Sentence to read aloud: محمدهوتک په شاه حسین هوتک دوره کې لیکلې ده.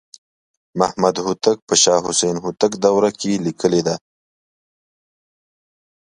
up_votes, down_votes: 2, 0